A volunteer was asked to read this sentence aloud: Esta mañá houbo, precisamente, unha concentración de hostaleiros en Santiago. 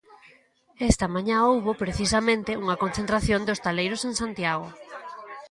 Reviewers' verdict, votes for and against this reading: rejected, 1, 2